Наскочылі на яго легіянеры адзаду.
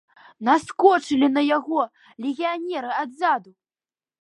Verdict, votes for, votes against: accepted, 2, 0